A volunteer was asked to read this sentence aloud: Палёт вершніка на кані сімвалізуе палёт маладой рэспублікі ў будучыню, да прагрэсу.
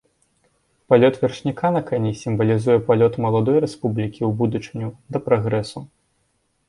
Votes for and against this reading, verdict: 0, 2, rejected